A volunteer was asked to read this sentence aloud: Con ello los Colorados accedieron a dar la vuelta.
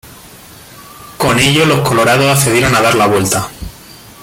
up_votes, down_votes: 1, 2